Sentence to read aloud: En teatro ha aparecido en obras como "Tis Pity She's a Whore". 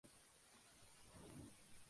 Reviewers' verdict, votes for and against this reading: rejected, 0, 2